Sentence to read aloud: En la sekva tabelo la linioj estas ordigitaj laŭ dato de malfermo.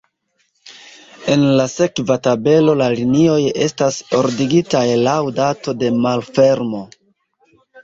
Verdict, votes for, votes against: accepted, 2, 0